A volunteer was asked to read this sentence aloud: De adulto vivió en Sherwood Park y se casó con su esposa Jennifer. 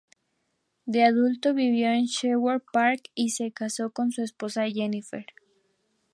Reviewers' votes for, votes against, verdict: 4, 0, accepted